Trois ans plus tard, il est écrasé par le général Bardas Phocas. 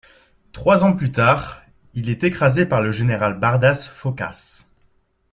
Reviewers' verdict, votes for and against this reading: accepted, 2, 0